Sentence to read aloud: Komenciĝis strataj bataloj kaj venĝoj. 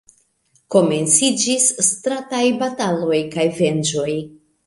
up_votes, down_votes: 2, 1